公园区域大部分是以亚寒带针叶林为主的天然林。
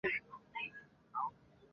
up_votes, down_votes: 0, 4